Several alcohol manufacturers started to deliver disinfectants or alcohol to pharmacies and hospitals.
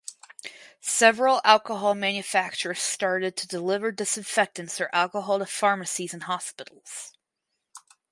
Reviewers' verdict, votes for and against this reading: accepted, 4, 0